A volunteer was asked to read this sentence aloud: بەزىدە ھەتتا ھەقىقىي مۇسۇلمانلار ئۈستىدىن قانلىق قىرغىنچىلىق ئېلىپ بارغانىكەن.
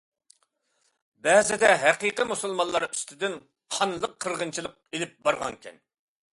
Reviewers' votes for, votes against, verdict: 0, 2, rejected